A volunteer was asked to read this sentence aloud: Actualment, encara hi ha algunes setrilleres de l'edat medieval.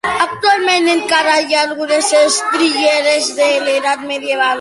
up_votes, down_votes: 1, 2